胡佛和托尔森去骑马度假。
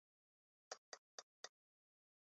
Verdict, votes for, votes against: rejected, 0, 2